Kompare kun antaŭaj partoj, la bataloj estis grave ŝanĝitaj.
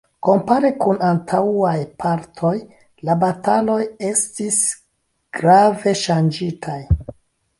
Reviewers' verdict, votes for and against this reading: accepted, 2, 0